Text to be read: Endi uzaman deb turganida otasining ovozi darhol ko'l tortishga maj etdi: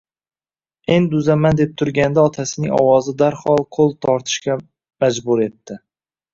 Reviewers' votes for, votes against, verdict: 0, 2, rejected